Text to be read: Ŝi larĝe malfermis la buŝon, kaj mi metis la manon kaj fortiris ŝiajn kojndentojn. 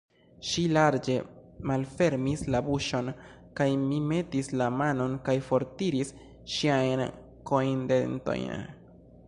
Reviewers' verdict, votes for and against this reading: accepted, 2, 0